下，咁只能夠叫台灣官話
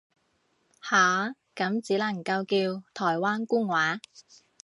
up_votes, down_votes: 2, 0